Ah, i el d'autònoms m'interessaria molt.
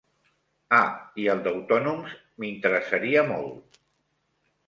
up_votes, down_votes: 2, 0